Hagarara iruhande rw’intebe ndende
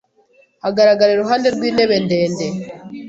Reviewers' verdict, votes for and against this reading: rejected, 1, 2